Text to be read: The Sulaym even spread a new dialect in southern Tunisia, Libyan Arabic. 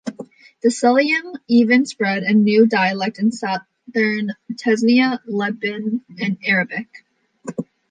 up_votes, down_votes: 0, 2